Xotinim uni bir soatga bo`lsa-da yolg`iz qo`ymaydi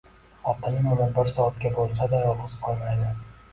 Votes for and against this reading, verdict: 2, 0, accepted